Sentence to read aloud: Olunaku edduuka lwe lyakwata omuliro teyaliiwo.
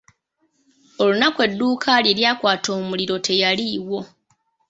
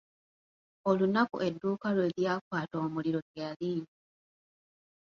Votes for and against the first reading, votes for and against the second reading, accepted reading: 2, 1, 1, 2, first